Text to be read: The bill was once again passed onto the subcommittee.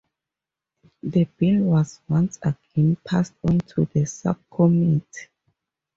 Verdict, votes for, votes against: rejected, 2, 2